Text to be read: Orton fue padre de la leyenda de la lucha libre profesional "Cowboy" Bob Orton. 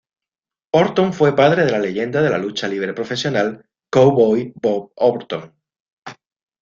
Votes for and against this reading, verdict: 2, 0, accepted